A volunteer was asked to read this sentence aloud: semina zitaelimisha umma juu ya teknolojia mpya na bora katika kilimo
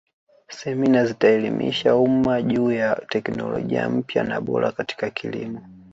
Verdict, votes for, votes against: rejected, 0, 2